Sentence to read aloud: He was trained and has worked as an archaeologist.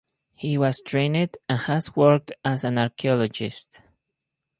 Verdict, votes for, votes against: rejected, 0, 2